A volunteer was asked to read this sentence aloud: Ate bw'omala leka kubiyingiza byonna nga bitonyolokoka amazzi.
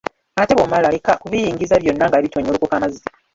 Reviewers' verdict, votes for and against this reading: rejected, 0, 2